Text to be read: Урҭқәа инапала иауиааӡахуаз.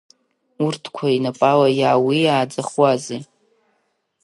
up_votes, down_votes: 1, 3